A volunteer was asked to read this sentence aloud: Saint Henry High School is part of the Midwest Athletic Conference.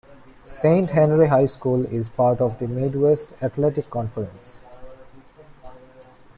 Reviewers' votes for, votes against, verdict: 1, 2, rejected